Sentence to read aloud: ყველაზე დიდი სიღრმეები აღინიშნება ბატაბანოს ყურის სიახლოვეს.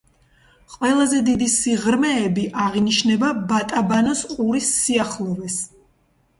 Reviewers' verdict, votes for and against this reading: accepted, 2, 0